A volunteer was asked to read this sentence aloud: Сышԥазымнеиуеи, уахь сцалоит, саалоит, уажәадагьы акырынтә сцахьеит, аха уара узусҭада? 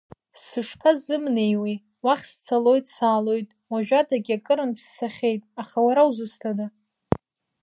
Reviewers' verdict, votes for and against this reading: accepted, 2, 0